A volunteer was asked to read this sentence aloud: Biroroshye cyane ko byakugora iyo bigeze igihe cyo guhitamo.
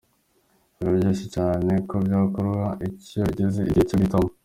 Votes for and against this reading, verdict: 2, 1, accepted